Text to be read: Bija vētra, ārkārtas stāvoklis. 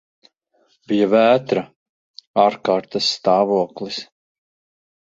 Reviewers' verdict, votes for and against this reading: rejected, 1, 2